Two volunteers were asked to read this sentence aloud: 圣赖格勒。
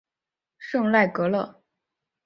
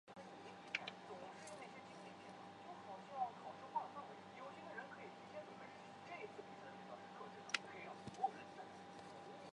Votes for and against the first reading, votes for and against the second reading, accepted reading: 2, 1, 0, 2, first